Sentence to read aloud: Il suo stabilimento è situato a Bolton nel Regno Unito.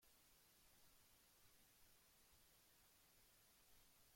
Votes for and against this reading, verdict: 0, 3, rejected